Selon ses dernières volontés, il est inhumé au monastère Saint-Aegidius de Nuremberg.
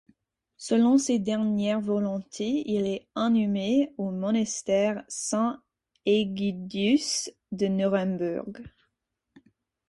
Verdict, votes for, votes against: rejected, 2, 4